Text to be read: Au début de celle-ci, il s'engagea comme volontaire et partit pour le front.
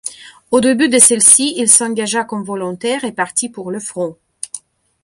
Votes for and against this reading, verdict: 2, 0, accepted